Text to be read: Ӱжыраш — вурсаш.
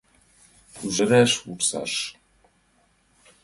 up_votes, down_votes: 2, 0